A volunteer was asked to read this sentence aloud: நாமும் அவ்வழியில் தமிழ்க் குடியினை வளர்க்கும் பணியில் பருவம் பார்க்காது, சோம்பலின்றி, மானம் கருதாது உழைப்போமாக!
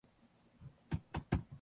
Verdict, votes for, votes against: rejected, 0, 2